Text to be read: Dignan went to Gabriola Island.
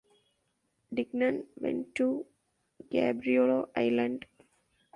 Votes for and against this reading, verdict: 0, 2, rejected